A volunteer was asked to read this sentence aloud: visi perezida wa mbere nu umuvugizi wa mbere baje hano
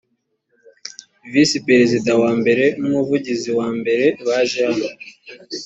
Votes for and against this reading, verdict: 2, 0, accepted